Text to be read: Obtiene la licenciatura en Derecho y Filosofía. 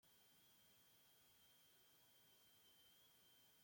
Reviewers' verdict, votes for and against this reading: rejected, 0, 2